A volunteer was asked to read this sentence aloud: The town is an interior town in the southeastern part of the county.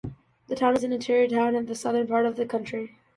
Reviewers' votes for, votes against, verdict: 0, 2, rejected